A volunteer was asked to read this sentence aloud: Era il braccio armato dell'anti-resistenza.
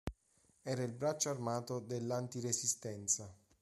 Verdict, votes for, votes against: accepted, 2, 0